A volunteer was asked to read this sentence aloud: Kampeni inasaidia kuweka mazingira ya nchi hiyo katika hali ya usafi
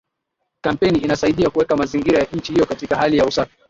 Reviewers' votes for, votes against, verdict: 6, 1, accepted